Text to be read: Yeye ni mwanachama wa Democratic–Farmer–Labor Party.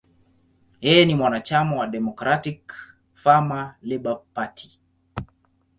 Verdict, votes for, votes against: accepted, 2, 0